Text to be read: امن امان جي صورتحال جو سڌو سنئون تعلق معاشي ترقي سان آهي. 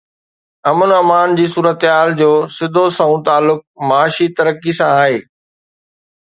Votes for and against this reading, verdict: 2, 0, accepted